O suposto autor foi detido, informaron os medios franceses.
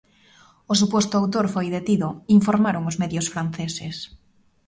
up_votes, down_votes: 2, 0